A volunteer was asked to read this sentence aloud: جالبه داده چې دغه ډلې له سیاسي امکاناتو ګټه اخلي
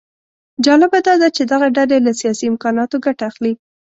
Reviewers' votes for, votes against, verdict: 2, 0, accepted